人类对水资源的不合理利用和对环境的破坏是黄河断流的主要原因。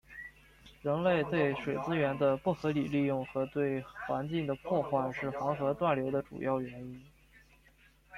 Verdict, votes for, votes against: accepted, 2, 0